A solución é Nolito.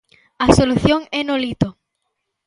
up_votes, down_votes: 2, 0